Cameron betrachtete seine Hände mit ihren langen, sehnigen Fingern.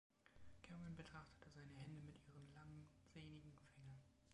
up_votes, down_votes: 0, 3